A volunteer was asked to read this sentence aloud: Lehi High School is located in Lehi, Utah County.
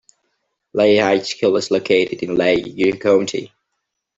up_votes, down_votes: 0, 2